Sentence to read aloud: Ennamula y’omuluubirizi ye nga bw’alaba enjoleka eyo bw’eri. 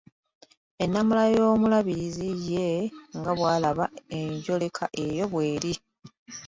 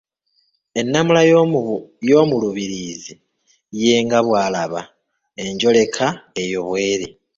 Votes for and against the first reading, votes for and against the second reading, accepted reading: 2, 1, 0, 2, first